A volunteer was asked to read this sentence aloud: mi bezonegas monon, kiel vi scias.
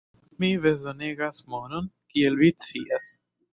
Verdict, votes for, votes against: accepted, 2, 0